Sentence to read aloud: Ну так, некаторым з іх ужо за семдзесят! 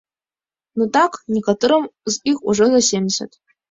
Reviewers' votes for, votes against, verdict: 2, 1, accepted